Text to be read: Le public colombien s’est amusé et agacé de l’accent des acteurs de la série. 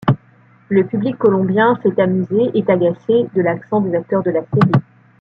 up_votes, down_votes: 1, 2